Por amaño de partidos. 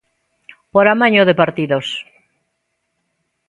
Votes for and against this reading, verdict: 2, 0, accepted